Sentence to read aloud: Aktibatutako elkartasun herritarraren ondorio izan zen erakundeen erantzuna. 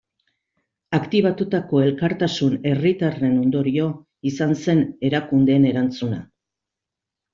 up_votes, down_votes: 1, 2